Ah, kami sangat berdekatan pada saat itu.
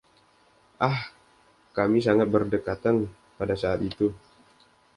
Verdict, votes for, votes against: accepted, 2, 0